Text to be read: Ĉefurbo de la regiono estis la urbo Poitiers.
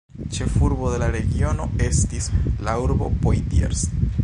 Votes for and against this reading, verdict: 1, 2, rejected